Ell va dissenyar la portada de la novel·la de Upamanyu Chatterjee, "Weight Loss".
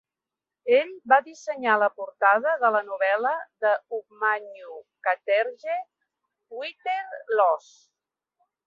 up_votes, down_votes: 0, 3